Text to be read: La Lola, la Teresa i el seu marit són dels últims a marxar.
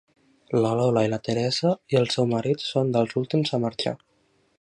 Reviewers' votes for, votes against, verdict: 1, 2, rejected